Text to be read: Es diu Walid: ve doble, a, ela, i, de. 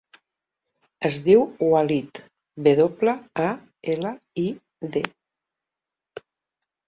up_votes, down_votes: 3, 0